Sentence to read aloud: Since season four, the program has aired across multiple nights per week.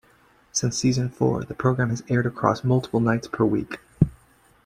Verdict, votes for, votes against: accepted, 2, 0